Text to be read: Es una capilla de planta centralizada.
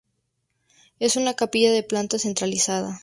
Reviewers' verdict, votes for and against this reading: accepted, 2, 0